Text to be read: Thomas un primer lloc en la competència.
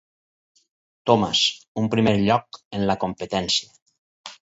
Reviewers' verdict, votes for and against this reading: rejected, 2, 2